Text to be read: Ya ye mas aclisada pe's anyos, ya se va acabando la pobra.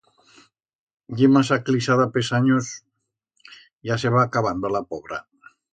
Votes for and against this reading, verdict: 1, 2, rejected